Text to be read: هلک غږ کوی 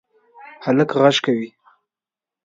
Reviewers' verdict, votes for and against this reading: accepted, 2, 0